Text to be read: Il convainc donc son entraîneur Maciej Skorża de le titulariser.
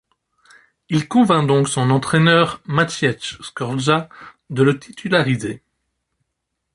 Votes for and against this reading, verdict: 2, 0, accepted